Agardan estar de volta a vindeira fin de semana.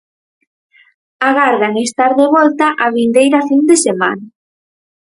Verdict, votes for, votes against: rejected, 2, 2